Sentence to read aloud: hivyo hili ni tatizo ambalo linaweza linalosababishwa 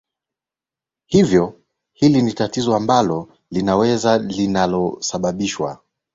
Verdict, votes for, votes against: accepted, 8, 1